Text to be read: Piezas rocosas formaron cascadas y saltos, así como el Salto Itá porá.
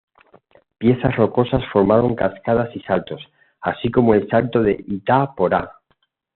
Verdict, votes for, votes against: rejected, 1, 2